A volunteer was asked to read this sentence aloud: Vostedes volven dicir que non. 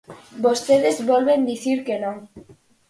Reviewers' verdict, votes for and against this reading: accepted, 4, 0